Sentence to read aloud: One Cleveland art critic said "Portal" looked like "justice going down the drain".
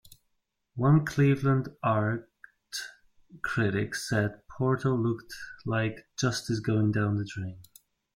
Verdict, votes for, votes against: accepted, 2, 0